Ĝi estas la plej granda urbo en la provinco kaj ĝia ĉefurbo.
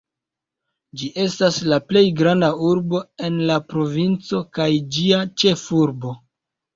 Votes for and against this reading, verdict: 1, 2, rejected